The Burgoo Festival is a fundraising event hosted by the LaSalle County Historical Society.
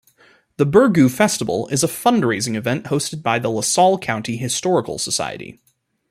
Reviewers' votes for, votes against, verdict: 2, 1, accepted